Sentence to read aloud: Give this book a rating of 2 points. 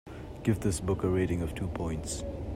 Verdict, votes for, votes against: rejected, 0, 2